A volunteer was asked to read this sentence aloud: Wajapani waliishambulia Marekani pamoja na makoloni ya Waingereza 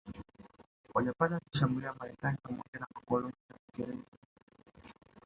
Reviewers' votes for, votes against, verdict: 0, 2, rejected